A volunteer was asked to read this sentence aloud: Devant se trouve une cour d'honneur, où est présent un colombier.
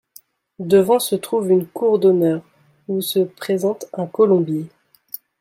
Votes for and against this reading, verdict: 0, 2, rejected